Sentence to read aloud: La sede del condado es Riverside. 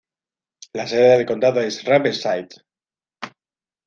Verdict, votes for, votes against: accepted, 2, 0